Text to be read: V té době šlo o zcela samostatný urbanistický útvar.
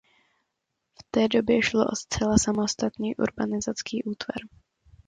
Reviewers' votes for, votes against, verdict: 0, 2, rejected